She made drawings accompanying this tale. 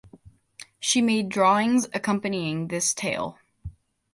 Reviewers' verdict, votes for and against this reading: accepted, 2, 0